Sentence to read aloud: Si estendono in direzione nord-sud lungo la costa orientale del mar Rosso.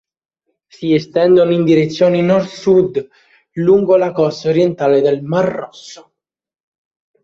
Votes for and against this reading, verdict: 2, 0, accepted